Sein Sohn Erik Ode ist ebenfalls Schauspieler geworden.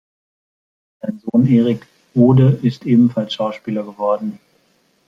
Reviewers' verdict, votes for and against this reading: accepted, 2, 0